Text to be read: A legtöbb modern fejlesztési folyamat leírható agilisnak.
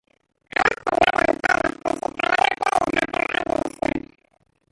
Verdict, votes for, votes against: rejected, 0, 2